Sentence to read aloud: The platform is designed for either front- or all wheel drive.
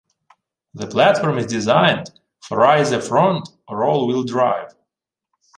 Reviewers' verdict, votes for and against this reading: rejected, 1, 2